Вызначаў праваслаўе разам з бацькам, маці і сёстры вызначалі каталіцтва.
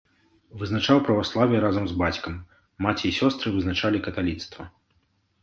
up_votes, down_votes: 2, 0